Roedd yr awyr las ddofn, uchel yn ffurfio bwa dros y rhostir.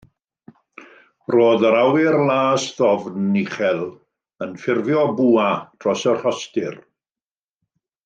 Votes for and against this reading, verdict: 2, 0, accepted